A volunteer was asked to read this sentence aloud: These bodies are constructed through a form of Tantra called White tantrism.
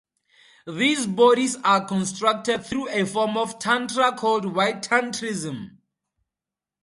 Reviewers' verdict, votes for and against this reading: accepted, 2, 0